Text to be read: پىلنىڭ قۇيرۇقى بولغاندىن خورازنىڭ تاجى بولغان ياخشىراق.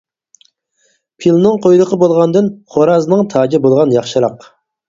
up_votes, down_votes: 4, 0